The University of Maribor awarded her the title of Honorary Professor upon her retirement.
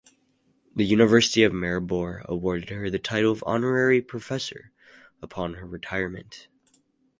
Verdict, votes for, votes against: rejected, 2, 2